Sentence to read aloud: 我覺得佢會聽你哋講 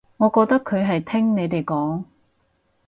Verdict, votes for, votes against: rejected, 2, 4